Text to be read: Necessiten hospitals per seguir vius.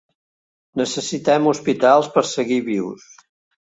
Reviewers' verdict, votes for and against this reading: rejected, 1, 2